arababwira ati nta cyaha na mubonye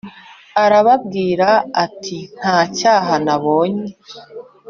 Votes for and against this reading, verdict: 1, 2, rejected